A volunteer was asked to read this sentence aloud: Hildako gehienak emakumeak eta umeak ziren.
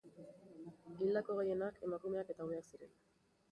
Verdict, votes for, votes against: rejected, 0, 2